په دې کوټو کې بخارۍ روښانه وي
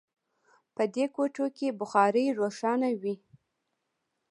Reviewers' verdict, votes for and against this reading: accepted, 2, 0